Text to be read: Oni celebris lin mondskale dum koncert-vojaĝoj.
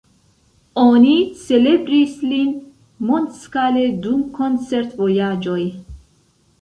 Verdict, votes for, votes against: accepted, 2, 0